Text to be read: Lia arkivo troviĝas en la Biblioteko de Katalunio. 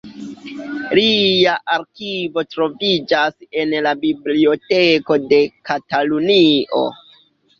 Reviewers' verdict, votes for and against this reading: rejected, 1, 2